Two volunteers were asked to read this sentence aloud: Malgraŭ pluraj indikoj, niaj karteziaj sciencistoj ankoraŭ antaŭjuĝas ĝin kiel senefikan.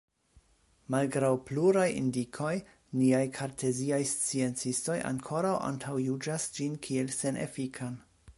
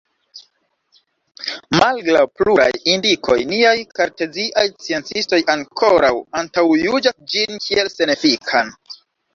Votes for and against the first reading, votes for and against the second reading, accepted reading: 2, 1, 0, 2, first